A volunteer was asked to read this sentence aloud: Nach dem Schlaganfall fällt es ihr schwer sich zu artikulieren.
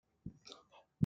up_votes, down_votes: 0, 2